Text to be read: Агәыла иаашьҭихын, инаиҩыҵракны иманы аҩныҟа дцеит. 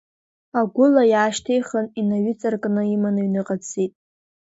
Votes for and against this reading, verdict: 2, 0, accepted